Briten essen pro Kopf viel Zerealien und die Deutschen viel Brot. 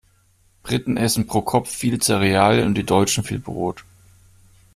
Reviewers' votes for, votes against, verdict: 0, 2, rejected